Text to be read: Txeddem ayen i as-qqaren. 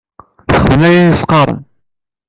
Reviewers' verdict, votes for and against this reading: rejected, 1, 2